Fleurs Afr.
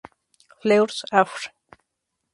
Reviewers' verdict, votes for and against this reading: rejected, 2, 2